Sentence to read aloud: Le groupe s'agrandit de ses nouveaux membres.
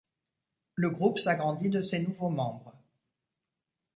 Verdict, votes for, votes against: accepted, 2, 0